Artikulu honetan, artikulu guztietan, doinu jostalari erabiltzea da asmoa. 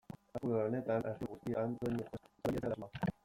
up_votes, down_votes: 0, 2